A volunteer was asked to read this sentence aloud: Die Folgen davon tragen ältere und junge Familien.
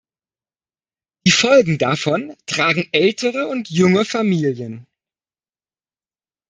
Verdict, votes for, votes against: rejected, 0, 2